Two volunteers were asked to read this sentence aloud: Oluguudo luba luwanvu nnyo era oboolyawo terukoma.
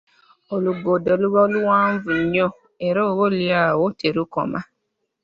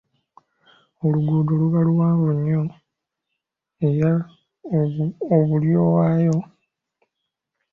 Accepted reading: first